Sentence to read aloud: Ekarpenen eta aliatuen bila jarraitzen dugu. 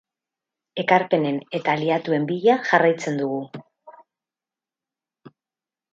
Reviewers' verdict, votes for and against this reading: accepted, 12, 4